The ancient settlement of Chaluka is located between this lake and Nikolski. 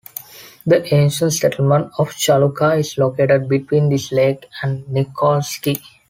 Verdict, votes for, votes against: accepted, 2, 0